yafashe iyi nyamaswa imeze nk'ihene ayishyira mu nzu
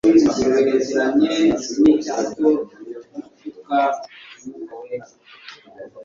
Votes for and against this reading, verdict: 1, 2, rejected